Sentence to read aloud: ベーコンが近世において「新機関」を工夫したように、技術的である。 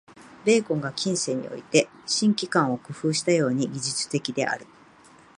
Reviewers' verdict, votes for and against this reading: accepted, 2, 0